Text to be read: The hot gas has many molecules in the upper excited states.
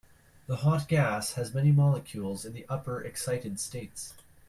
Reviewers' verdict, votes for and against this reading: accepted, 2, 0